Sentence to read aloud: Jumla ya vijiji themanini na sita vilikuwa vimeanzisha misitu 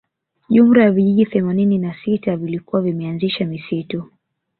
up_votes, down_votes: 1, 2